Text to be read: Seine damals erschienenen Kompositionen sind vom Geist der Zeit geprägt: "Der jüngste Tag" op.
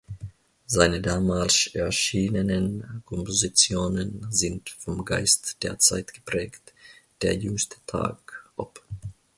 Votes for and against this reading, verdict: 1, 2, rejected